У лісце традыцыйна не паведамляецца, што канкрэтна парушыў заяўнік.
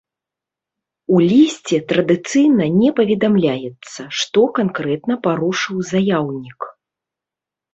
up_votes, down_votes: 1, 2